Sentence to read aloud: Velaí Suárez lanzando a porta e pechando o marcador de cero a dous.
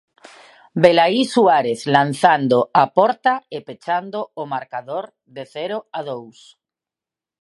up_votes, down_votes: 2, 0